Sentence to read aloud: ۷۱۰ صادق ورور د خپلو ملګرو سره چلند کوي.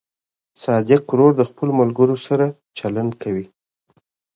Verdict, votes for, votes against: rejected, 0, 2